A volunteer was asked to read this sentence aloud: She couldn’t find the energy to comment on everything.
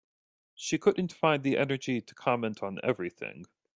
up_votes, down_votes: 2, 0